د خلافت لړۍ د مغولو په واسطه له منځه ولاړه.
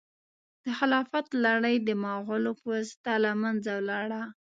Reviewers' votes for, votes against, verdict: 2, 0, accepted